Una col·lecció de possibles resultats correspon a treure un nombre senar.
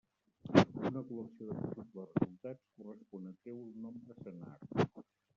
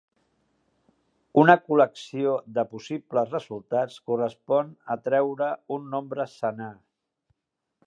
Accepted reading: second